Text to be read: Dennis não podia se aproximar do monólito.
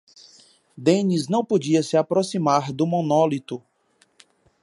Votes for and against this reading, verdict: 2, 0, accepted